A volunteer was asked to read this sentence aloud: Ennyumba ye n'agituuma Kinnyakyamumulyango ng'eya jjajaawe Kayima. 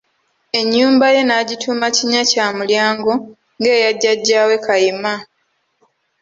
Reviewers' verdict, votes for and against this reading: accepted, 2, 0